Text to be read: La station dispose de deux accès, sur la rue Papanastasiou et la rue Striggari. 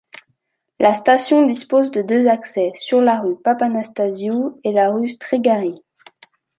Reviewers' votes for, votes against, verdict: 2, 0, accepted